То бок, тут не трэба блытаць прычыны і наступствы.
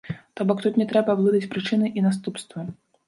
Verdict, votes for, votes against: accepted, 3, 0